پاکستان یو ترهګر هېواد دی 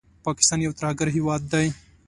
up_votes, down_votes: 2, 0